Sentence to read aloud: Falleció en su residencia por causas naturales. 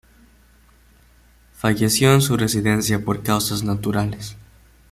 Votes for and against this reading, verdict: 2, 1, accepted